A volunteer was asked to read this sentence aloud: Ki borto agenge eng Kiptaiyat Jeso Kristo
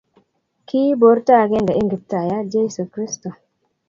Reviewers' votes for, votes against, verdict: 2, 0, accepted